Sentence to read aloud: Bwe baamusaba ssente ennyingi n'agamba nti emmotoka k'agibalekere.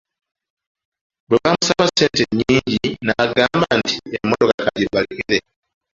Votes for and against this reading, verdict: 0, 2, rejected